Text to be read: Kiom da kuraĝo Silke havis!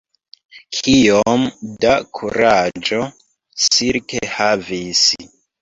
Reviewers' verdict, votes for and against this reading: rejected, 1, 2